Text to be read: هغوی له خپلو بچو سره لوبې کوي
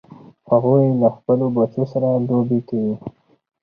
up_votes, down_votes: 4, 0